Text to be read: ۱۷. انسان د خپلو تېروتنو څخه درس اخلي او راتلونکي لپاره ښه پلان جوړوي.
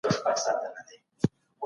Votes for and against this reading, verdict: 0, 2, rejected